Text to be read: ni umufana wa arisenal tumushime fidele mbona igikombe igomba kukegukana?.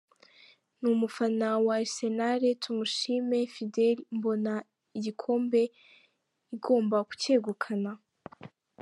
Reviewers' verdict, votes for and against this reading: accepted, 3, 0